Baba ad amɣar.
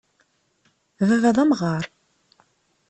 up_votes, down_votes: 1, 2